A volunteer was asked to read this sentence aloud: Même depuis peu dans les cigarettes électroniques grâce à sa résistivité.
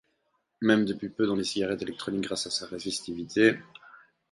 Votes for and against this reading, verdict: 4, 0, accepted